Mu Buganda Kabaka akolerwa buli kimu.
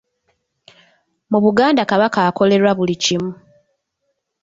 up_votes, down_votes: 2, 0